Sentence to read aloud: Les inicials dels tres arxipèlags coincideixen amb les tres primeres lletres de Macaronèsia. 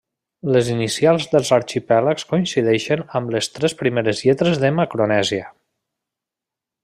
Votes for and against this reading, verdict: 0, 2, rejected